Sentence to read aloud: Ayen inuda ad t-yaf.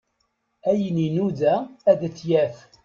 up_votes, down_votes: 1, 2